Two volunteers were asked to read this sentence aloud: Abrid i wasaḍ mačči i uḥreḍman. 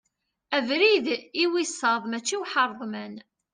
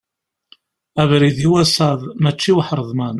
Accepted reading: second